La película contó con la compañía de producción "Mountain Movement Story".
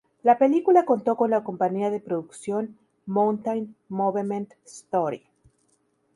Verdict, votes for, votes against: rejected, 0, 2